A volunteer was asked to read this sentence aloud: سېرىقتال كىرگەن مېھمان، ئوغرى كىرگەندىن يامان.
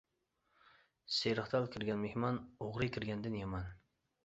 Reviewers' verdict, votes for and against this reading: accepted, 2, 0